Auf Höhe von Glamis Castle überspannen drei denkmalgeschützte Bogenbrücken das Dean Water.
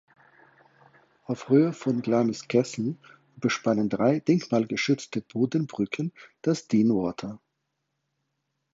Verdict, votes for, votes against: rejected, 2, 4